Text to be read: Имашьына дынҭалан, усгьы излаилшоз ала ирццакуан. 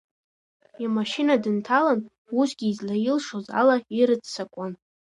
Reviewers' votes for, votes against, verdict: 2, 1, accepted